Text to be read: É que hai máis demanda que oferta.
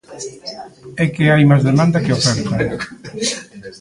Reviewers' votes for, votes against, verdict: 2, 0, accepted